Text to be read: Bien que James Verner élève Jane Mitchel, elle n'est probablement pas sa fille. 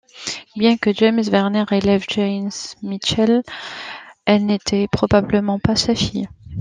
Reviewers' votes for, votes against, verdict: 0, 2, rejected